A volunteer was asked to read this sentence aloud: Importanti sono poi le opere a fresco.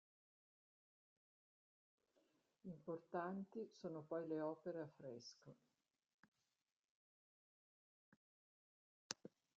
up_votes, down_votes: 0, 2